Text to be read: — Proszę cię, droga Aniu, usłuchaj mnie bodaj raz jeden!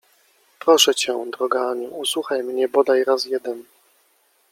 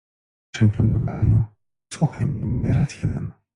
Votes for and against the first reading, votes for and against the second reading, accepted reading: 2, 1, 0, 2, first